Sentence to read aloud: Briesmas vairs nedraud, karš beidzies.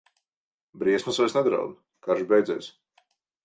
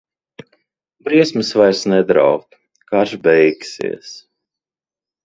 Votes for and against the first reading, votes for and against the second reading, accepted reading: 6, 0, 0, 2, first